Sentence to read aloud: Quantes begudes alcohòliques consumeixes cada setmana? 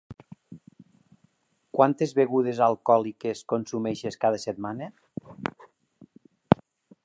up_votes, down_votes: 2, 0